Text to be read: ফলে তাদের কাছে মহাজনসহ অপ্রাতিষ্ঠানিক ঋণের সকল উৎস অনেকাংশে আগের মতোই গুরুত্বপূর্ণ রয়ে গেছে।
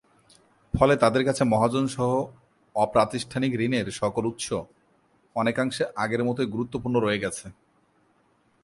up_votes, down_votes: 3, 0